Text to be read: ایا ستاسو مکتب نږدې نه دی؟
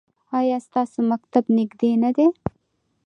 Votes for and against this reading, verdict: 2, 0, accepted